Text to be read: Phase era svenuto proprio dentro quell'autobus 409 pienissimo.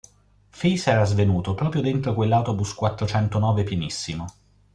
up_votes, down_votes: 0, 2